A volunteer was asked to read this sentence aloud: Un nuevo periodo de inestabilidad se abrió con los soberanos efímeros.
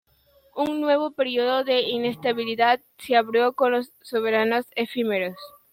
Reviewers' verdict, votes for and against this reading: accepted, 2, 1